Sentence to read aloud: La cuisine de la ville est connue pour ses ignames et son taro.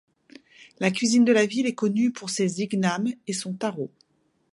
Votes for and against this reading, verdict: 2, 0, accepted